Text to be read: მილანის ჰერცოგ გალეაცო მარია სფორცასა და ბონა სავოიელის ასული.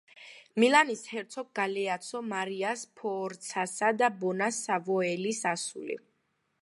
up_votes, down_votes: 2, 0